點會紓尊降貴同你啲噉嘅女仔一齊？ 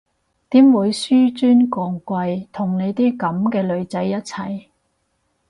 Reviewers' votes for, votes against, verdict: 2, 0, accepted